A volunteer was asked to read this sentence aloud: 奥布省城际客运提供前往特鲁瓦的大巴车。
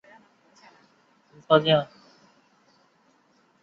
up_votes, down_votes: 0, 2